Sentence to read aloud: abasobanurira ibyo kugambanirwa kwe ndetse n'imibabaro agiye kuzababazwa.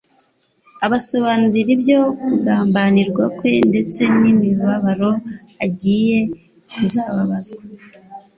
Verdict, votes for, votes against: accepted, 2, 0